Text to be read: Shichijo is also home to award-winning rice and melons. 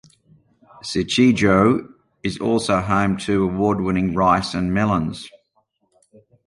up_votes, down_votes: 2, 0